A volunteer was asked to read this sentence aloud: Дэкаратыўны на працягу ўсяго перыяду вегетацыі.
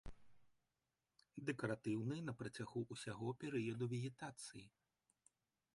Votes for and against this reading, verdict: 1, 2, rejected